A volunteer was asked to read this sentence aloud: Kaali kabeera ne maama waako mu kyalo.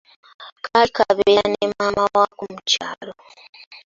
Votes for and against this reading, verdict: 0, 3, rejected